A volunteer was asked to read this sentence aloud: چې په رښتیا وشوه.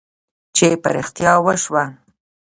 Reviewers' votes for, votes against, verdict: 2, 0, accepted